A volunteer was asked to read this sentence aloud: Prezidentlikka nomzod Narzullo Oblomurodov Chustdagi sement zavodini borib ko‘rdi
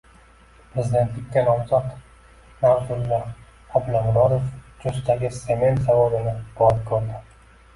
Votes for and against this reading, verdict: 1, 2, rejected